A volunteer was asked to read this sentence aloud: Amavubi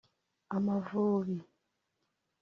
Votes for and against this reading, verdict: 2, 1, accepted